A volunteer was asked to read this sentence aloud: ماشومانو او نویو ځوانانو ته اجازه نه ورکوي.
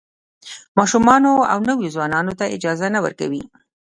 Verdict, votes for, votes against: accepted, 2, 0